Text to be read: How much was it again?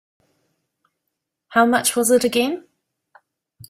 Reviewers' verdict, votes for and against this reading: accepted, 2, 0